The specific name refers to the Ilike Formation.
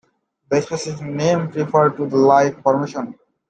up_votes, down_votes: 2, 1